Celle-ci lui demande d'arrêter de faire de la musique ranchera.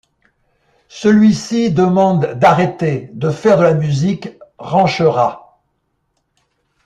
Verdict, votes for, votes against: rejected, 0, 2